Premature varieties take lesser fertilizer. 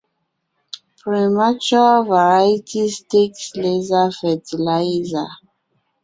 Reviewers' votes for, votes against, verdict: 2, 0, accepted